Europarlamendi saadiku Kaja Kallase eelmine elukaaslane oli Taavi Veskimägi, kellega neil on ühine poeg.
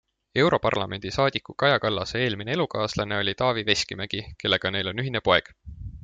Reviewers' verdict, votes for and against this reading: accepted, 2, 0